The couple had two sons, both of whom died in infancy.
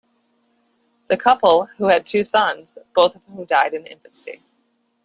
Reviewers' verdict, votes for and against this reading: rejected, 0, 2